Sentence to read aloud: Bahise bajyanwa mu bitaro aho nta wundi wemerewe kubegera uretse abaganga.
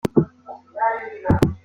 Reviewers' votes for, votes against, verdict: 0, 2, rejected